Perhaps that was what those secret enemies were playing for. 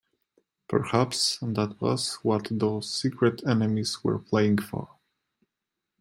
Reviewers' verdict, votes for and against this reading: rejected, 0, 2